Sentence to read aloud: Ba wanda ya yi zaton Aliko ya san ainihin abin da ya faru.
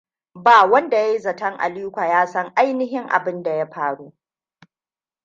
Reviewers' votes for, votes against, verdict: 2, 0, accepted